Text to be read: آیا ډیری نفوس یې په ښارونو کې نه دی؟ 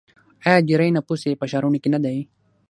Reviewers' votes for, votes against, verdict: 3, 6, rejected